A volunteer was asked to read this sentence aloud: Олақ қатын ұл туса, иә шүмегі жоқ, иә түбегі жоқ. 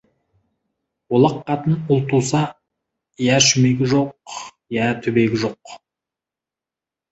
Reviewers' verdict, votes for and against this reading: rejected, 0, 2